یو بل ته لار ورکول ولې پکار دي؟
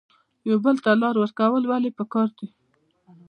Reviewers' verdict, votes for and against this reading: accepted, 2, 0